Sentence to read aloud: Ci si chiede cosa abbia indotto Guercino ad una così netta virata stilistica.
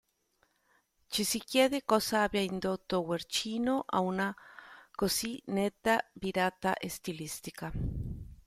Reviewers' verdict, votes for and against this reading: rejected, 1, 2